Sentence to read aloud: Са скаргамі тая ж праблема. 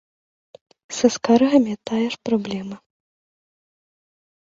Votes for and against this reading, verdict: 1, 3, rejected